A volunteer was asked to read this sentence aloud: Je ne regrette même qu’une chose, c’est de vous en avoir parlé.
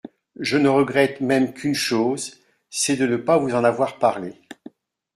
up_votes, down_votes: 0, 2